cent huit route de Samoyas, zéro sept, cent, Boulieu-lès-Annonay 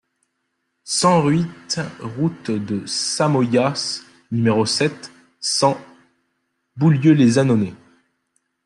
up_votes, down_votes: 0, 2